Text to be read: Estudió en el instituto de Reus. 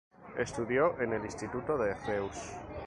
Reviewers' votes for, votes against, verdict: 2, 0, accepted